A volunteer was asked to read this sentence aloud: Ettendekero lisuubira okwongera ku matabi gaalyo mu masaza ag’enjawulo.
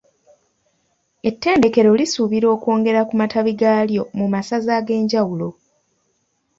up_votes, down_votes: 2, 0